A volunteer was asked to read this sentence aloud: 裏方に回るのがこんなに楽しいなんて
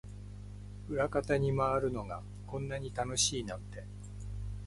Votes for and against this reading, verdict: 2, 0, accepted